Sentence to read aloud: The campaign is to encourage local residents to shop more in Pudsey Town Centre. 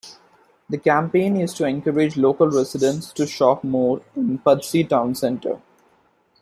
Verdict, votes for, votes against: accepted, 2, 0